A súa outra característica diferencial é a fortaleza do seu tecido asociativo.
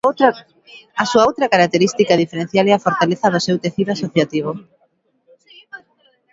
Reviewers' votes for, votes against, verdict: 1, 2, rejected